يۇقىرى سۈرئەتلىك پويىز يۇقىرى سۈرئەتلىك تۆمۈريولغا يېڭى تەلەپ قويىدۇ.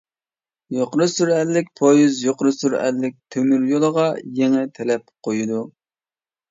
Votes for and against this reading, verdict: 0, 2, rejected